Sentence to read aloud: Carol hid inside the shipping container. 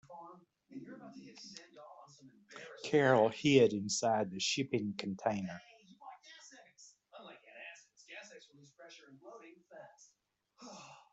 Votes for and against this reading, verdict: 1, 2, rejected